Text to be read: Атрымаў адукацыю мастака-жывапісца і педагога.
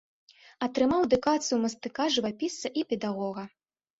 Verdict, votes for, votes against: rejected, 0, 2